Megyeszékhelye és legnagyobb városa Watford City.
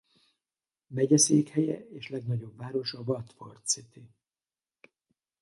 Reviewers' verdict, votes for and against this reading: rejected, 2, 2